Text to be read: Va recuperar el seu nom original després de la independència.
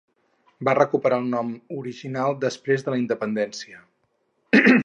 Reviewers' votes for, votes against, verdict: 0, 4, rejected